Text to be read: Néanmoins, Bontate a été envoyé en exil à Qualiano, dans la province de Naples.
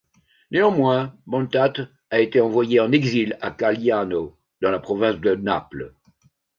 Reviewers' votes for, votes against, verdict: 2, 0, accepted